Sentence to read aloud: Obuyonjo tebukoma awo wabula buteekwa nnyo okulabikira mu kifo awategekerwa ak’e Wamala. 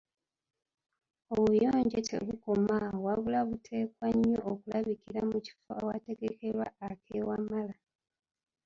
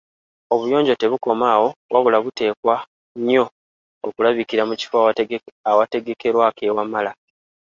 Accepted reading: second